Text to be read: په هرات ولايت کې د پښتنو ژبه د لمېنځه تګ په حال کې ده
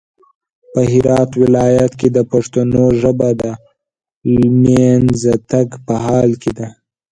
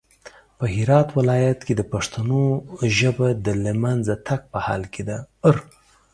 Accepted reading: second